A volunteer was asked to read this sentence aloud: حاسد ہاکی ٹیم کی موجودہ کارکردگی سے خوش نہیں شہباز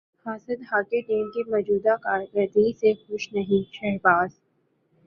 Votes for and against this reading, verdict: 4, 0, accepted